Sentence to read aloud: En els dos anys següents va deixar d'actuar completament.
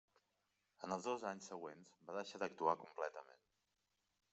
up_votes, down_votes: 1, 3